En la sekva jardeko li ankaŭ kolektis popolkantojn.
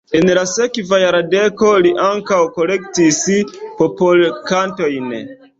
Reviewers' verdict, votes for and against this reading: rejected, 1, 2